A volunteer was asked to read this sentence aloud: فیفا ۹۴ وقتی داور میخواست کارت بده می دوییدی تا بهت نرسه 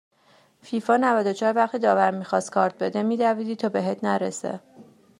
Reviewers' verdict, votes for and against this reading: rejected, 0, 2